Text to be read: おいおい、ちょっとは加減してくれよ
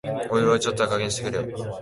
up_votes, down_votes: 1, 2